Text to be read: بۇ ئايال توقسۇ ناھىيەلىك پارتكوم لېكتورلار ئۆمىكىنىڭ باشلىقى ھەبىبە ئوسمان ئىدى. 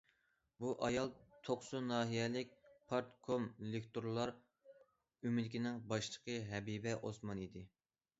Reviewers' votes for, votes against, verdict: 2, 0, accepted